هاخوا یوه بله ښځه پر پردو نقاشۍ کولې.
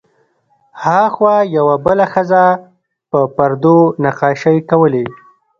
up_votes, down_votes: 2, 0